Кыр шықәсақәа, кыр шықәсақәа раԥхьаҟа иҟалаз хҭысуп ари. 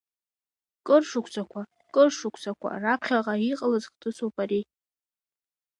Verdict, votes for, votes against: rejected, 1, 2